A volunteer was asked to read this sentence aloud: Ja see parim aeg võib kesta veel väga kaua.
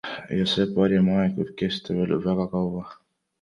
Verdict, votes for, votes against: accepted, 2, 0